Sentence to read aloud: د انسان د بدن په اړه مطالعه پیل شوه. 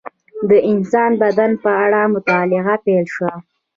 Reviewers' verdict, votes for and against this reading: accepted, 2, 1